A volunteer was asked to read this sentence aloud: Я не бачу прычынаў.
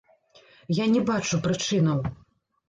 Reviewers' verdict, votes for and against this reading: rejected, 0, 2